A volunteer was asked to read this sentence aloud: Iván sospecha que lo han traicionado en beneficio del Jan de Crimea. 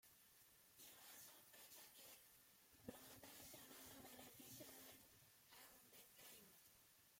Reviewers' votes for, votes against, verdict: 0, 2, rejected